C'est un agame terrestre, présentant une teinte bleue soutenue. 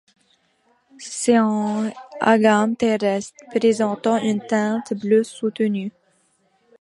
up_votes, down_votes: 2, 0